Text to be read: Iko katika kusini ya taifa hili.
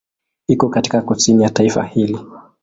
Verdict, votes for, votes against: accepted, 3, 0